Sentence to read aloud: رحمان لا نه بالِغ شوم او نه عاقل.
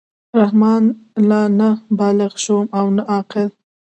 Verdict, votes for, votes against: rejected, 0, 2